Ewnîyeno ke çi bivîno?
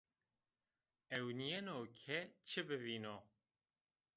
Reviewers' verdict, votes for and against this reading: rejected, 1, 2